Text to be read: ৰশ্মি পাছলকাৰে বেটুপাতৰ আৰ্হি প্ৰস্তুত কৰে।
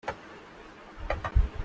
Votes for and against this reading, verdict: 0, 2, rejected